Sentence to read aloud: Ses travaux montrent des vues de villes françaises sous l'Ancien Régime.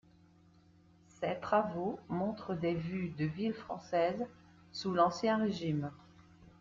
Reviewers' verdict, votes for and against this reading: accepted, 2, 0